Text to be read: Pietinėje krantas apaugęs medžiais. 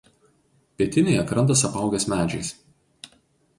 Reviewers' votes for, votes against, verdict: 2, 0, accepted